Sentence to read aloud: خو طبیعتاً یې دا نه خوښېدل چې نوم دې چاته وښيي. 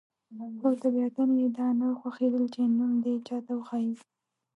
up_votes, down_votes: 2, 0